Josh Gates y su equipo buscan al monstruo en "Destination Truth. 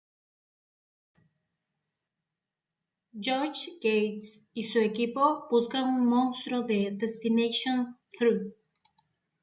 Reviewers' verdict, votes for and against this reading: rejected, 0, 2